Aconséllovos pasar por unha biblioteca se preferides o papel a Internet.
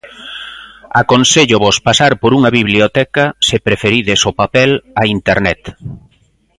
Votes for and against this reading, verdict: 3, 0, accepted